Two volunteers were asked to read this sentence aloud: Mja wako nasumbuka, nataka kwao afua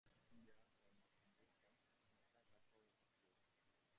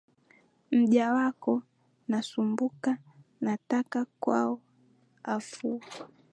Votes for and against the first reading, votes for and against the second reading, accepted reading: 0, 2, 2, 0, second